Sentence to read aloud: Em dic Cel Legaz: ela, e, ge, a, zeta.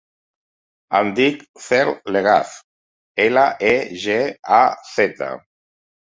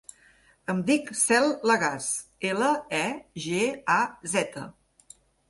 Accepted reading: second